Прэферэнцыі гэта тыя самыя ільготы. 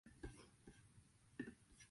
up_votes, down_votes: 0, 2